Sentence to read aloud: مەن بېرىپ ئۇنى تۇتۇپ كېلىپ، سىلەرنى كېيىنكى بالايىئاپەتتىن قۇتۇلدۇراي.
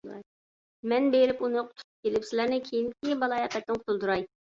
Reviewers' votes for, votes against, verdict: 1, 2, rejected